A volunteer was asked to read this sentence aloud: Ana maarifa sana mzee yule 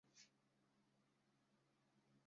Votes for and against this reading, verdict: 0, 2, rejected